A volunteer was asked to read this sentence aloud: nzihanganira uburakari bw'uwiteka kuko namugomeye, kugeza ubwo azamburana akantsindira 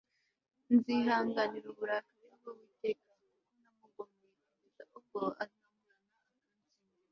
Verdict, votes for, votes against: rejected, 0, 2